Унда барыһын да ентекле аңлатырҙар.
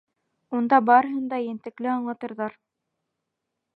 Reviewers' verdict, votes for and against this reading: accepted, 2, 0